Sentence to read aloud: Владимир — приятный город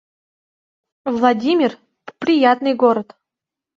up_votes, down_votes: 1, 2